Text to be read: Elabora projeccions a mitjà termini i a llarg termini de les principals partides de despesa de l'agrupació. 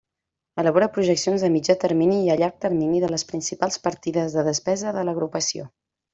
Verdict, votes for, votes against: accepted, 3, 0